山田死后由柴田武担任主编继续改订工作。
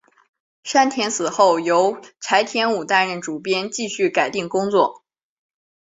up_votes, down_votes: 2, 0